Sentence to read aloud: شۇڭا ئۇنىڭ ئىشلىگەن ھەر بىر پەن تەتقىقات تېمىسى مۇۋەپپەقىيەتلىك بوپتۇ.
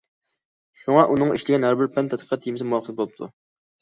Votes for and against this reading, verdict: 0, 2, rejected